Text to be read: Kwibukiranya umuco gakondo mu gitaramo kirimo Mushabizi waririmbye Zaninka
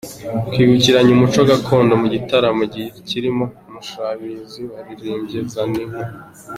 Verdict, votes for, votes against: accepted, 2, 1